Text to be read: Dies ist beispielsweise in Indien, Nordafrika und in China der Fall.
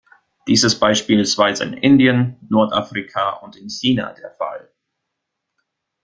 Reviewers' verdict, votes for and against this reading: accepted, 2, 0